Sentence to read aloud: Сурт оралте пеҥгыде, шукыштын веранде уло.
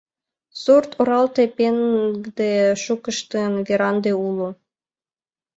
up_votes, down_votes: 1, 2